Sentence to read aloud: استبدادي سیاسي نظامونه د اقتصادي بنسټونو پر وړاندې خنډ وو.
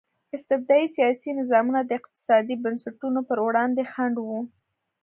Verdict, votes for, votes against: accepted, 2, 1